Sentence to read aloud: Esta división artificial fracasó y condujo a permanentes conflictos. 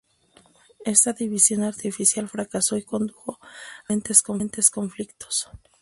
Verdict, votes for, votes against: rejected, 0, 2